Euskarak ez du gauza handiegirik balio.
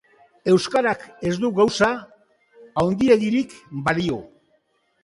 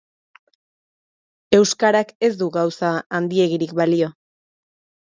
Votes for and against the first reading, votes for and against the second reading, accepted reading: 1, 3, 2, 0, second